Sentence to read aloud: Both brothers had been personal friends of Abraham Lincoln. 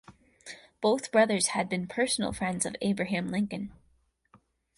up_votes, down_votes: 4, 0